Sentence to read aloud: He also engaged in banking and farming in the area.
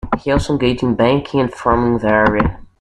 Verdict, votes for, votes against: rejected, 0, 2